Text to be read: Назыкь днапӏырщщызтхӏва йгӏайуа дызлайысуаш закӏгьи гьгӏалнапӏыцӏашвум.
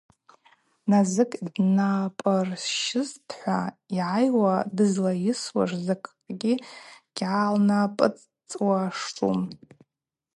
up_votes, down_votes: 0, 2